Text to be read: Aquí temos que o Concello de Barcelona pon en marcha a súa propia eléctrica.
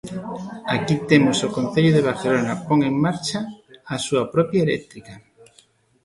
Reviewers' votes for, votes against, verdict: 0, 2, rejected